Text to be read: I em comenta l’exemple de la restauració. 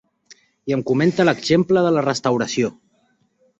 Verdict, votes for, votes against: accepted, 2, 0